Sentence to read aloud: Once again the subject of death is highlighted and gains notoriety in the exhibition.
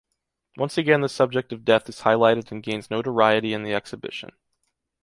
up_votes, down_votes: 2, 0